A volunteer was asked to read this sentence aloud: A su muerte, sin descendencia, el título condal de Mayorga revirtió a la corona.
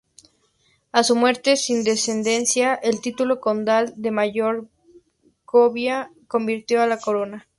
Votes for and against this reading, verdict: 0, 2, rejected